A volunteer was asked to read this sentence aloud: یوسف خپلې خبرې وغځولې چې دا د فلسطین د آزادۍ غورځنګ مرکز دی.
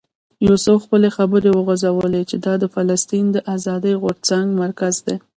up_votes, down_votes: 1, 2